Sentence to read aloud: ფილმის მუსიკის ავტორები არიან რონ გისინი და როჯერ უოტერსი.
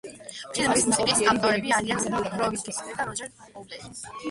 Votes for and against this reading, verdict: 0, 2, rejected